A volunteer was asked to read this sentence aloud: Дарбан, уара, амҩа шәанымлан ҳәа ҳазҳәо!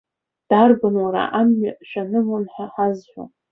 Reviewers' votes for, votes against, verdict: 2, 0, accepted